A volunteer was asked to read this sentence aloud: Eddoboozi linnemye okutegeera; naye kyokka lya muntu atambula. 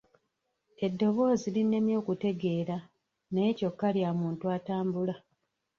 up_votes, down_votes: 1, 2